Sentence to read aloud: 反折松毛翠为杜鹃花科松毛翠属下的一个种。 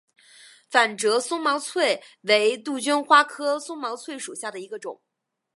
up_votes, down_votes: 2, 1